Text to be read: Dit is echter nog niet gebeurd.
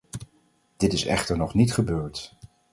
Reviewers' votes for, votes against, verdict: 4, 0, accepted